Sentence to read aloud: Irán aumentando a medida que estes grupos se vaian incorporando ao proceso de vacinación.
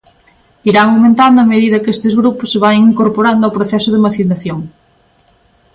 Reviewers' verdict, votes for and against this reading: accepted, 2, 0